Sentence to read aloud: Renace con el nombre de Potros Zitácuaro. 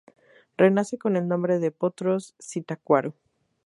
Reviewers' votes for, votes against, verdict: 2, 0, accepted